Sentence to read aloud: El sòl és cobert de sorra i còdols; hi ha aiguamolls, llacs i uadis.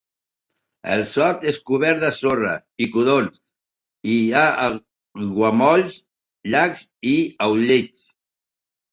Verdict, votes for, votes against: rejected, 1, 2